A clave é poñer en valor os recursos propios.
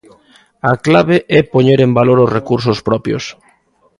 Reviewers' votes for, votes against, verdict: 2, 0, accepted